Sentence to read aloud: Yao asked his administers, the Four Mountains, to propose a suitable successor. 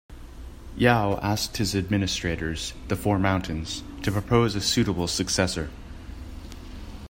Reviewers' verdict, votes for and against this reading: rejected, 0, 2